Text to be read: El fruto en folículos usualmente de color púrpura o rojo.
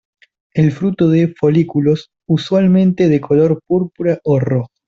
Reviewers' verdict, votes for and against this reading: rejected, 0, 2